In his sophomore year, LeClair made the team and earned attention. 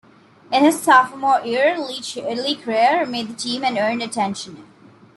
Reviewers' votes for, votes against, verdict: 1, 2, rejected